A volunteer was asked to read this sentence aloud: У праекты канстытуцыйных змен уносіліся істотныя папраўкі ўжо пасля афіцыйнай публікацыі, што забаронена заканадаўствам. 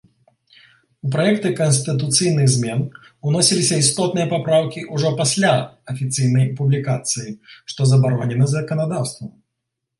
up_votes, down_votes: 2, 0